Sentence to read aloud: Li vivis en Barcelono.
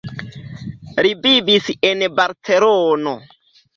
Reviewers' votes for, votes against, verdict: 1, 2, rejected